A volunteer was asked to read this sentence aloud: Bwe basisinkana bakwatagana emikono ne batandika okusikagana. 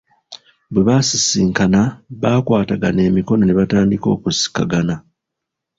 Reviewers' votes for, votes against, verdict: 2, 1, accepted